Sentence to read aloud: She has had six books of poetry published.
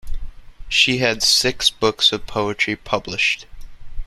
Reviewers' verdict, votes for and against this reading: rejected, 0, 2